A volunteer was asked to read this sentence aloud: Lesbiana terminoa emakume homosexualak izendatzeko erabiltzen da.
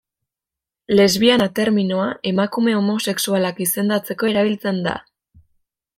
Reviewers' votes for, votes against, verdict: 2, 0, accepted